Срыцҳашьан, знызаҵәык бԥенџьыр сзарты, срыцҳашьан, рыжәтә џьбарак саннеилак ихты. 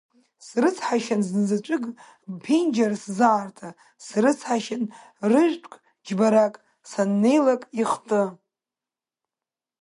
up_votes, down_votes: 1, 2